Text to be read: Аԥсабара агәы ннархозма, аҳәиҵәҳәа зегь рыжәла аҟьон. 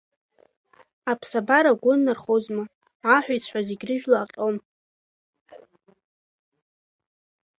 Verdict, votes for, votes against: rejected, 0, 2